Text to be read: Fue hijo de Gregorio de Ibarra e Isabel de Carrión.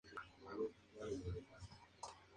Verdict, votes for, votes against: rejected, 0, 2